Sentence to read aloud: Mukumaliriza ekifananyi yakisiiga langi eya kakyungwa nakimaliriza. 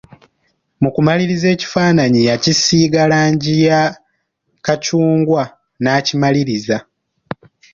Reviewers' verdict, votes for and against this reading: rejected, 1, 2